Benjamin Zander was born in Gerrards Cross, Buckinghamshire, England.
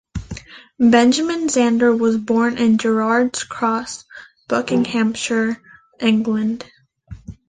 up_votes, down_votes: 2, 0